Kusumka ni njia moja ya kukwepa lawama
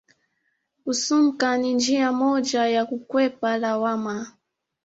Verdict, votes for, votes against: accepted, 2, 0